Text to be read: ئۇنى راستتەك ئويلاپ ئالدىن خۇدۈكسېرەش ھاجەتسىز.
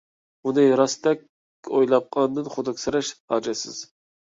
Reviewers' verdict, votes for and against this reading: rejected, 0, 2